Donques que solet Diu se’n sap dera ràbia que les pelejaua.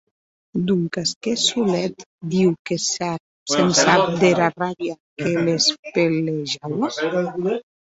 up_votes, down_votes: 0, 2